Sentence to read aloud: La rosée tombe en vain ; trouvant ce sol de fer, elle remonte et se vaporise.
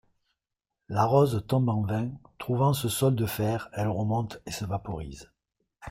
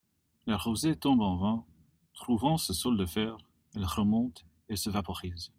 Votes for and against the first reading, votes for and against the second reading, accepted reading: 1, 2, 2, 0, second